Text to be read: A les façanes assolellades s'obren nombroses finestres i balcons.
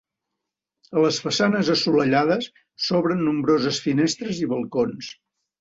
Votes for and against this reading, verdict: 2, 0, accepted